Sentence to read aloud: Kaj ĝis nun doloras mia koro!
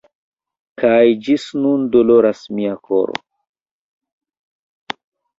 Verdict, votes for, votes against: rejected, 0, 2